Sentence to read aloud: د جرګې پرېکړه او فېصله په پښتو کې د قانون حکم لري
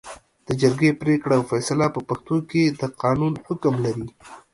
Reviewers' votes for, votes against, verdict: 2, 0, accepted